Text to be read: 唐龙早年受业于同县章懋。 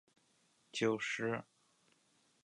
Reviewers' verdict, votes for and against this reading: rejected, 0, 3